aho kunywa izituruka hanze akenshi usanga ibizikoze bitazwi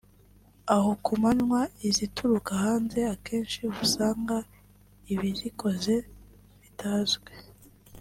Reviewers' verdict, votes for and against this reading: rejected, 1, 2